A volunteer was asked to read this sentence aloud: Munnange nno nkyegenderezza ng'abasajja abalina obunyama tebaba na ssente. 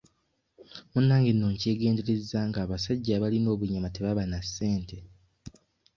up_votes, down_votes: 2, 0